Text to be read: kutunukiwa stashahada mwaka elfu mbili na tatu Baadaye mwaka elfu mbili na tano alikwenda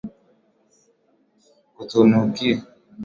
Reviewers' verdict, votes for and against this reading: rejected, 0, 4